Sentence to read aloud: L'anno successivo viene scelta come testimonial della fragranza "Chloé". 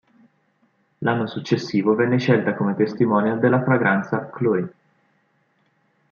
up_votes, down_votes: 1, 2